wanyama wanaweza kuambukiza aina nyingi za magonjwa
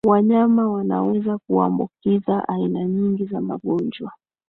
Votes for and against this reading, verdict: 2, 1, accepted